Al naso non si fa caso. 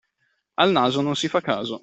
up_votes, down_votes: 2, 0